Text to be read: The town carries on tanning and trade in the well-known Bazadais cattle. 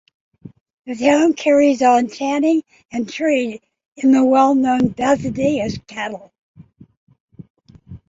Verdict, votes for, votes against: accepted, 2, 0